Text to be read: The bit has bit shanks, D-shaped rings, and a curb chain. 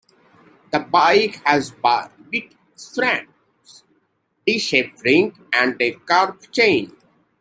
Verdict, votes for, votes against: accepted, 2, 1